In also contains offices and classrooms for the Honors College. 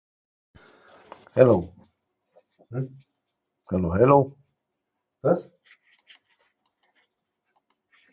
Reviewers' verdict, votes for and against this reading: rejected, 0, 2